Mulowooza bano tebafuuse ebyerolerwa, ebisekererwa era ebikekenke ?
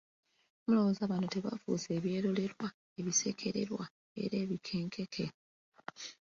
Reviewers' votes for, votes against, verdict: 2, 1, accepted